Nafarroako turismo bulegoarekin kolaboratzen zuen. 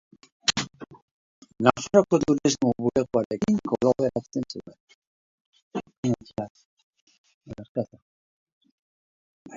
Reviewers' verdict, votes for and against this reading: rejected, 0, 3